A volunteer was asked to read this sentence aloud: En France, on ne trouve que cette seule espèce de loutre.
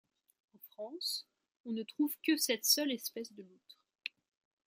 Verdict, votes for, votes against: rejected, 0, 2